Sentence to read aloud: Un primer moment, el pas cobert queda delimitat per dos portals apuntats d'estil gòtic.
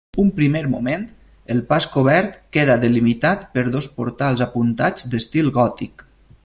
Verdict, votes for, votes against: accepted, 2, 0